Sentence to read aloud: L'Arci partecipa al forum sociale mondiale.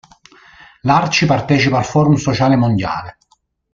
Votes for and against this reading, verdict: 2, 0, accepted